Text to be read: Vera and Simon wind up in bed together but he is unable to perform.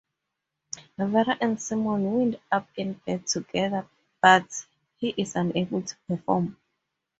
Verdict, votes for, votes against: accepted, 4, 0